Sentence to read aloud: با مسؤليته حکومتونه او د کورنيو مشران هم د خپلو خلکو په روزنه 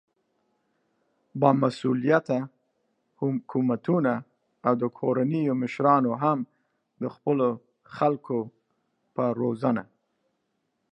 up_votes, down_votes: 1, 2